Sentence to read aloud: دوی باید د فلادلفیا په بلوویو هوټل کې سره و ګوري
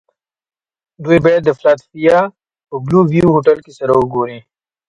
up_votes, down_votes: 3, 0